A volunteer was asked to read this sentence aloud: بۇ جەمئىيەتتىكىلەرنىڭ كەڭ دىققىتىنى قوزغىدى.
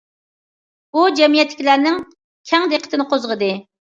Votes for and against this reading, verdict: 2, 0, accepted